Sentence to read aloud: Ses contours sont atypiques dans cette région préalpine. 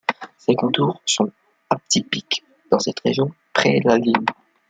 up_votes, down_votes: 0, 2